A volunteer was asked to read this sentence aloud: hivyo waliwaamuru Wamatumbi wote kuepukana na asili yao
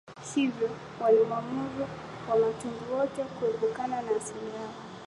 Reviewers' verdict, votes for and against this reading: rejected, 1, 3